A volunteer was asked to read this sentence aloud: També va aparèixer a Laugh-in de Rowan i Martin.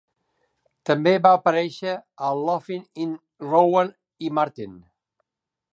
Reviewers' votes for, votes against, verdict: 0, 2, rejected